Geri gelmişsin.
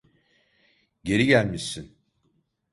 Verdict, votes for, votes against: accepted, 2, 0